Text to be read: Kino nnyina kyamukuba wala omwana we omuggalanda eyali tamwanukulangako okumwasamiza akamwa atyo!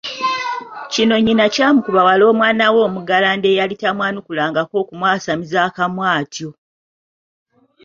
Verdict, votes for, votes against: accepted, 2, 0